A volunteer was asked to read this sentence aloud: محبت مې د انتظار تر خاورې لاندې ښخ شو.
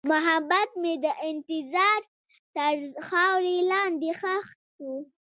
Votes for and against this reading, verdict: 0, 2, rejected